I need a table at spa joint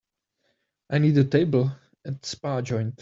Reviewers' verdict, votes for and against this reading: accepted, 2, 0